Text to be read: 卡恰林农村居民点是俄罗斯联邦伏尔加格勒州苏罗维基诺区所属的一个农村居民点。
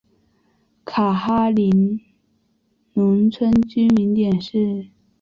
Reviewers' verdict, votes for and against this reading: rejected, 0, 2